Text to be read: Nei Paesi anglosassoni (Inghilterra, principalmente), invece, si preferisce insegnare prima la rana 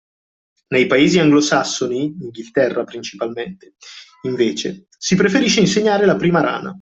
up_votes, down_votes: 0, 2